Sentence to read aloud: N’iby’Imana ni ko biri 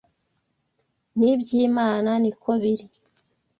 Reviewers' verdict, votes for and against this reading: accepted, 2, 0